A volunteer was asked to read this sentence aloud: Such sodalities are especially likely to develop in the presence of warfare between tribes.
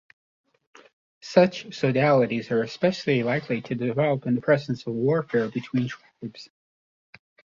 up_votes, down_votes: 2, 0